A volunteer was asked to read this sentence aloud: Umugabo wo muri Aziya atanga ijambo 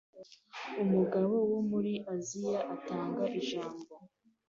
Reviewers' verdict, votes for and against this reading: accepted, 2, 0